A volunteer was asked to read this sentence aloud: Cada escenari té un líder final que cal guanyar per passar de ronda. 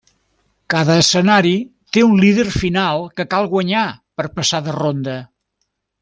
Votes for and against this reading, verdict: 3, 0, accepted